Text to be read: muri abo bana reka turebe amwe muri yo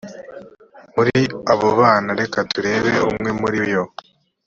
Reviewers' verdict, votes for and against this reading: rejected, 0, 2